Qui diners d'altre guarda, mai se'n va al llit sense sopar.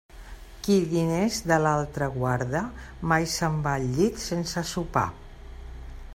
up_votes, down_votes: 2, 1